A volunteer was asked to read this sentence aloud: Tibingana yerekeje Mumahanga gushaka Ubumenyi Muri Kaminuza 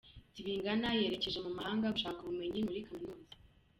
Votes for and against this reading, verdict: 1, 2, rejected